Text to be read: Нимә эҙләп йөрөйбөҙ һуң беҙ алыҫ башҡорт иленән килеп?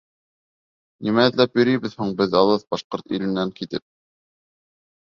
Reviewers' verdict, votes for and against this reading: accepted, 3, 1